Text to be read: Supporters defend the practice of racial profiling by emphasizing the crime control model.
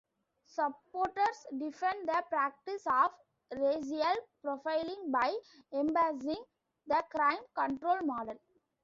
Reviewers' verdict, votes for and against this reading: rejected, 0, 2